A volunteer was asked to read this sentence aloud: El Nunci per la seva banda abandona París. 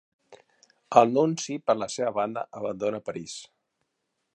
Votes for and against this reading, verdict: 2, 0, accepted